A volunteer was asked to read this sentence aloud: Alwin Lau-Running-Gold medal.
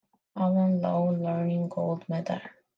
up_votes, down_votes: 2, 1